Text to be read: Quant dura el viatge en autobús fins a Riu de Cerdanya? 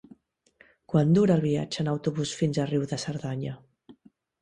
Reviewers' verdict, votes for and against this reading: accepted, 3, 0